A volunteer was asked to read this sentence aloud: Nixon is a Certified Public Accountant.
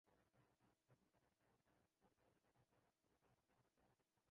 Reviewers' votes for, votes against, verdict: 0, 2, rejected